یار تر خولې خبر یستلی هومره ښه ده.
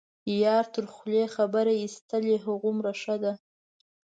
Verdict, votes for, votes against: accepted, 2, 0